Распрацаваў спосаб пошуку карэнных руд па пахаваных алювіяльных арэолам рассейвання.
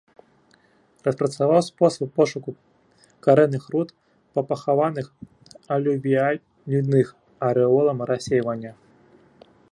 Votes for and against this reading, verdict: 0, 2, rejected